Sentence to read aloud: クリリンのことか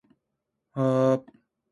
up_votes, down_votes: 0, 2